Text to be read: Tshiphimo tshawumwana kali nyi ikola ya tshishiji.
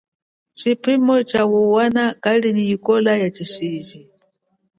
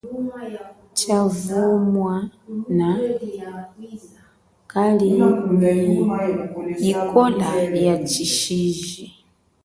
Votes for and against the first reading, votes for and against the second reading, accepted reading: 5, 1, 1, 3, first